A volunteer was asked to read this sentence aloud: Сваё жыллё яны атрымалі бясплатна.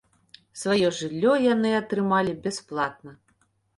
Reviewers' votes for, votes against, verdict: 2, 0, accepted